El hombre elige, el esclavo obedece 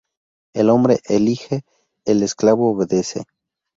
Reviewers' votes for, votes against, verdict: 2, 0, accepted